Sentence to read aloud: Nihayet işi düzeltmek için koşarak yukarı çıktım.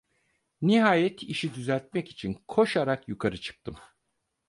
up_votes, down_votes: 4, 0